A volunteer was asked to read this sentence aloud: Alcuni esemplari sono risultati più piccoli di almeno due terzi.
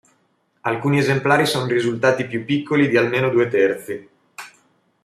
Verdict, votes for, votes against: accepted, 2, 0